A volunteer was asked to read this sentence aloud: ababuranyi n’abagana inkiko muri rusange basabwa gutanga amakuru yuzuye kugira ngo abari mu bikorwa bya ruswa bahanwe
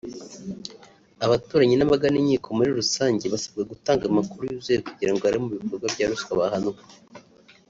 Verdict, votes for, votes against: rejected, 0, 2